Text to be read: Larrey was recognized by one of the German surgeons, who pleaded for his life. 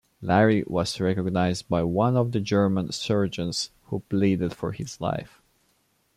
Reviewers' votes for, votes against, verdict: 2, 0, accepted